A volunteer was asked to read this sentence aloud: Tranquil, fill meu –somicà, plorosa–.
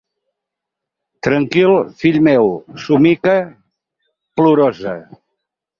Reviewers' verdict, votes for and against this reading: rejected, 0, 4